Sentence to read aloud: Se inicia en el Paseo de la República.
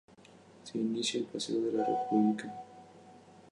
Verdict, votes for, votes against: rejected, 2, 2